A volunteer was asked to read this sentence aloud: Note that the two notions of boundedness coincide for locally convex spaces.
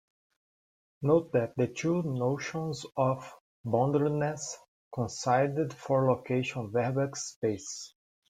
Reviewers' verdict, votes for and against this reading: rejected, 0, 2